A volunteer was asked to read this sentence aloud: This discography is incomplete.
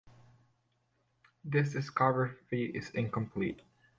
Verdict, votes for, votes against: rejected, 1, 2